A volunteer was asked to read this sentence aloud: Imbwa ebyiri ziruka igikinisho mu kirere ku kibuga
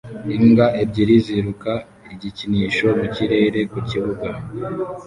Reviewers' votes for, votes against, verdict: 0, 2, rejected